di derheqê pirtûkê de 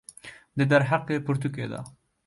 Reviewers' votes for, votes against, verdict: 1, 2, rejected